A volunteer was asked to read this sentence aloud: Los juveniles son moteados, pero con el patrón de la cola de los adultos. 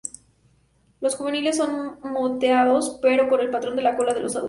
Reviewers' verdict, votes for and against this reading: accepted, 2, 0